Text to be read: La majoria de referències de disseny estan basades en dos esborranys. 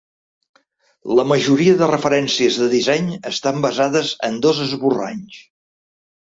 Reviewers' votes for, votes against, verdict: 2, 0, accepted